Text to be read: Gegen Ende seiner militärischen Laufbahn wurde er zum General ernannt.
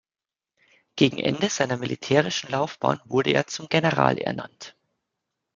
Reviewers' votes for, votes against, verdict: 2, 0, accepted